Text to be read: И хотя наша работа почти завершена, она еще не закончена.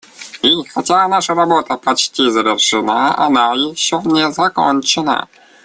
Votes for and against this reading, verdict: 1, 2, rejected